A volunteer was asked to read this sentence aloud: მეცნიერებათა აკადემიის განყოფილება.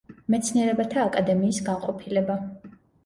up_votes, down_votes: 2, 0